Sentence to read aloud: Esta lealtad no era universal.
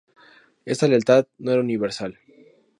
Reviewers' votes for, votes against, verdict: 2, 0, accepted